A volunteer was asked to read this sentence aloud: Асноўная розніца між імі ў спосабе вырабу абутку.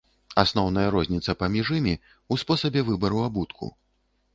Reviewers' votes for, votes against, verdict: 0, 2, rejected